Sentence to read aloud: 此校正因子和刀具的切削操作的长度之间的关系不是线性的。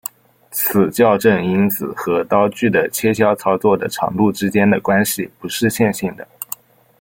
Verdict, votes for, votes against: accepted, 2, 0